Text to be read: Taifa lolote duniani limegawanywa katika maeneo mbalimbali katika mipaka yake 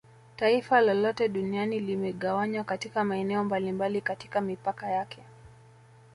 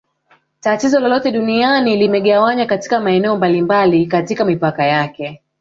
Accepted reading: first